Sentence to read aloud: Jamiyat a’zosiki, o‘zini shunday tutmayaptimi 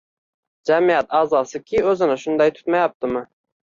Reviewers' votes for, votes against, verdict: 1, 2, rejected